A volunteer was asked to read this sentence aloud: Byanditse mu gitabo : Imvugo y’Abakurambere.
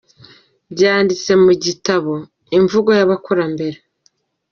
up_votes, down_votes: 2, 0